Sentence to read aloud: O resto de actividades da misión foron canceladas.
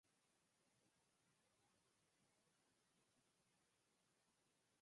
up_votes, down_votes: 0, 4